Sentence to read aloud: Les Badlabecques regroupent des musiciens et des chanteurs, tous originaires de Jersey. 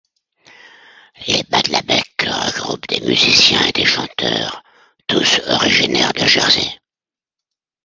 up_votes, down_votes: 0, 2